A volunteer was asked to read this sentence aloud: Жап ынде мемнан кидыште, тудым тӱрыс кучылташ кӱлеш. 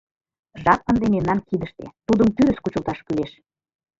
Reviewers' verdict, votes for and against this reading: accepted, 2, 1